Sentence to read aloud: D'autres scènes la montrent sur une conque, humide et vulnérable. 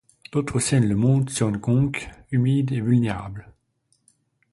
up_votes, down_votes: 0, 2